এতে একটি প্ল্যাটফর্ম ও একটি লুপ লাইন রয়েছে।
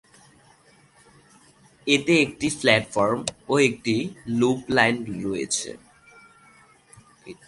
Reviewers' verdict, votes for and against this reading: rejected, 1, 2